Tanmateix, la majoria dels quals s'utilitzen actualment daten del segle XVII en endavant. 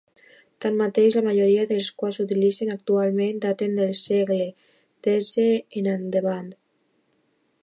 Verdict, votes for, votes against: rejected, 1, 2